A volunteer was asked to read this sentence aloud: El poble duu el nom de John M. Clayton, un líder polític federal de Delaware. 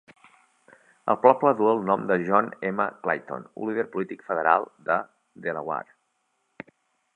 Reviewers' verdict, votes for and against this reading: accepted, 2, 0